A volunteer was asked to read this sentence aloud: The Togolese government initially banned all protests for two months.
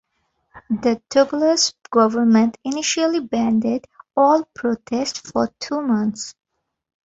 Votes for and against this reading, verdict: 0, 2, rejected